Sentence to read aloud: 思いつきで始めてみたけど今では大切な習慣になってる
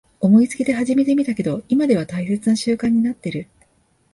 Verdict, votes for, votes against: accepted, 2, 0